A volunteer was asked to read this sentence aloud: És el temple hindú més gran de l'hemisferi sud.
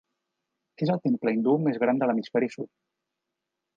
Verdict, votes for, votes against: accepted, 2, 0